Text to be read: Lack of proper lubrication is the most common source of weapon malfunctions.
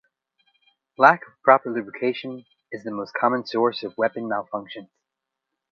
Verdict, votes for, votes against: rejected, 0, 2